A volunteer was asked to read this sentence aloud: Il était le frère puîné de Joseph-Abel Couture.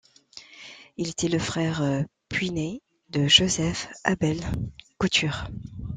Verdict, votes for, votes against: accepted, 2, 0